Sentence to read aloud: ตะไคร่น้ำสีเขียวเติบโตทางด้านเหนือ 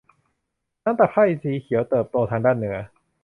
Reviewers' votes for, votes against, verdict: 0, 2, rejected